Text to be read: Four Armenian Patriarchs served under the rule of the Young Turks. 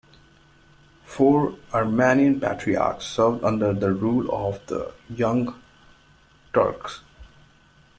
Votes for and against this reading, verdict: 2, 1, accepted